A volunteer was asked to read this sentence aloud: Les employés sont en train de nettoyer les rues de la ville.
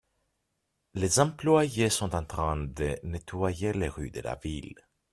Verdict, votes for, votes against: accepted, 2, 0